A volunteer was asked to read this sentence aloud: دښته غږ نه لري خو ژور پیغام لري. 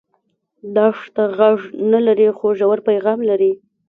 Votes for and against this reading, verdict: 1, 2, rejected